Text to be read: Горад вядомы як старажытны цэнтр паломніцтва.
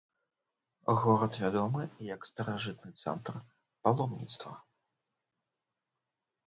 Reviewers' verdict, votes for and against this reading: accepted, 2, 0